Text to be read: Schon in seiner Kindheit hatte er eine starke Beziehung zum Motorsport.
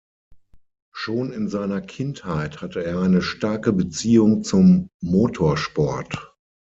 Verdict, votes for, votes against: accepted, 6, 0